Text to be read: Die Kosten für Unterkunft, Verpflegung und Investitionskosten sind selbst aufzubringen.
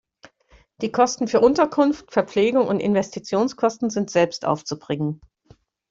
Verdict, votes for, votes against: accepted, 2, 0